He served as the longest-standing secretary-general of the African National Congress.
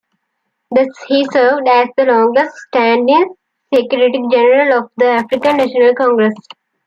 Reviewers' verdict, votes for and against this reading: accepted, 2, 0